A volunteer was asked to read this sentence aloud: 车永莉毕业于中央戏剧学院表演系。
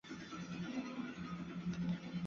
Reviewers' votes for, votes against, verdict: 0, 2, rejected